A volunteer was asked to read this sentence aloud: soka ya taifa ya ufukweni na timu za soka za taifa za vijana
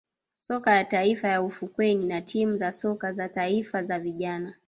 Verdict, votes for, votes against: rejected, 1, 2